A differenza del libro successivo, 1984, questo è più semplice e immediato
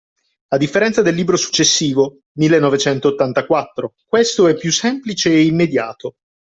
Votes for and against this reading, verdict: 0, 2, rejected